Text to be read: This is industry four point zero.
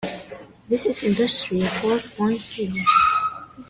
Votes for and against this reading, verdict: 0, 2, rejected